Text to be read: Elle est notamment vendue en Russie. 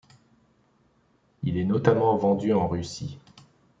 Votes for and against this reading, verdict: 0, 2, rejected